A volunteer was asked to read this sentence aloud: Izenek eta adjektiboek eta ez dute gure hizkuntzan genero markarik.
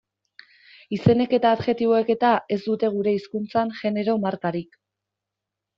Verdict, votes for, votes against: accepted, 2, 0